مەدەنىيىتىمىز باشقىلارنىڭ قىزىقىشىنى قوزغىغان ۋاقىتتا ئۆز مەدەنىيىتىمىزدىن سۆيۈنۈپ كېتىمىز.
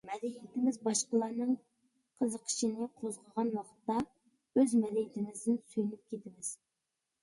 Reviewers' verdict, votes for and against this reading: accepted, 2, 1